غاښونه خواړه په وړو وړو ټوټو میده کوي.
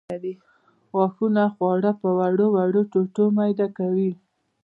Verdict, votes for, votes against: rejected, 1, 2